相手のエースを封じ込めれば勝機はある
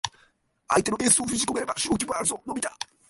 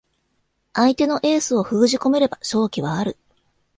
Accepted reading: second